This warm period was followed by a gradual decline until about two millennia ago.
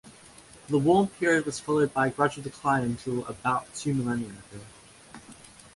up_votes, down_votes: 0, 2